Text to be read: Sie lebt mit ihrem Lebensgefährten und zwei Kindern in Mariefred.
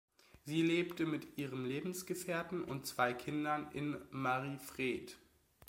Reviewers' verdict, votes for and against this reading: rejected, 1, 2